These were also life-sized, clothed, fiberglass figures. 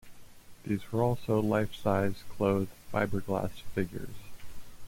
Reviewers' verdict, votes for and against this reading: accepted, 2, 1